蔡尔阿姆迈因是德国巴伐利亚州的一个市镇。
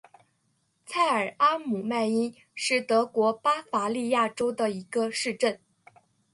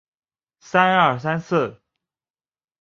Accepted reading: first